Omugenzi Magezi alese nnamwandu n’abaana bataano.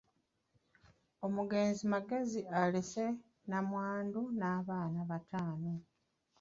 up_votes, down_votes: 2, 0